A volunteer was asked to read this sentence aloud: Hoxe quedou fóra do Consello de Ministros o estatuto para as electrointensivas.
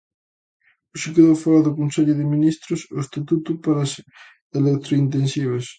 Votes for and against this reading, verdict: 2, 0, accepted